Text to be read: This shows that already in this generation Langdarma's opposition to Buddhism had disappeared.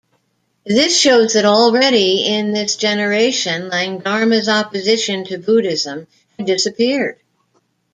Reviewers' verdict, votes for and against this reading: rejected, 1, 2